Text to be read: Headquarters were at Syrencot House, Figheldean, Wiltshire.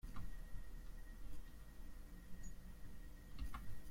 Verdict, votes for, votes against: rejected, 0, 2